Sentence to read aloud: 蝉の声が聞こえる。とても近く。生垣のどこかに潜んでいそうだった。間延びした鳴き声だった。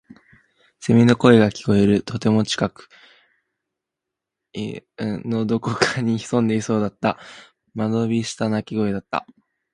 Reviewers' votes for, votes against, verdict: 0, 2, rejected